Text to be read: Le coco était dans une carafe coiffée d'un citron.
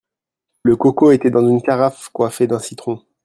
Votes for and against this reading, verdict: 2, 0, accepted